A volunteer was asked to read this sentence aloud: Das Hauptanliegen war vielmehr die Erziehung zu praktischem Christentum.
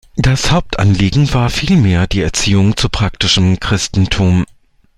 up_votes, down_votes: 2, 0